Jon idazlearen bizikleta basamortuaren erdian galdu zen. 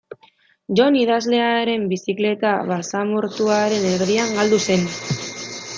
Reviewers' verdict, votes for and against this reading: rejected, 0, 2